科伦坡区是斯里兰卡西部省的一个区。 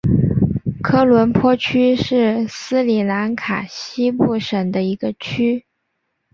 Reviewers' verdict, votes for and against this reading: accepted, 2, 0